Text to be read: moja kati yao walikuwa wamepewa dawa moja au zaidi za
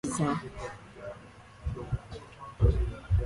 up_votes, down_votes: 0, 2